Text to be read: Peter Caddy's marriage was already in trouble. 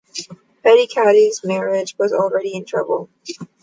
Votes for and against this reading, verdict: 2, 0, accepted